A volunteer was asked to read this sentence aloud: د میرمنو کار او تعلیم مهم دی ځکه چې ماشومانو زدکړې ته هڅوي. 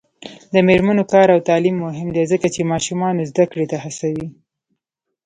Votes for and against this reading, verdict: 0, 2, rejected